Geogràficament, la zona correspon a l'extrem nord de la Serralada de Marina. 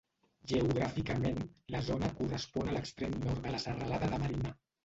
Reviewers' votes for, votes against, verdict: 1, 2, rejected